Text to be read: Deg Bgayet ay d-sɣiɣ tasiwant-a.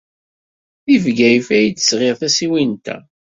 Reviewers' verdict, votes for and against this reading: accepted, 2, 0